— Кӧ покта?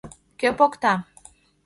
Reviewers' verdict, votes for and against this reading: accepted, 2, 0